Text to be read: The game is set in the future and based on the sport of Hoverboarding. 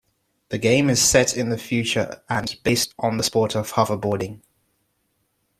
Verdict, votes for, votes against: rejected, 0, 2